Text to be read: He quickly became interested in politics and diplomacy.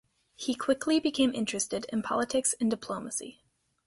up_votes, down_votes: 2, 0